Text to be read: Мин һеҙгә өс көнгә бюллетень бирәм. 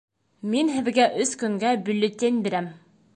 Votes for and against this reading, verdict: 2, 0, accepted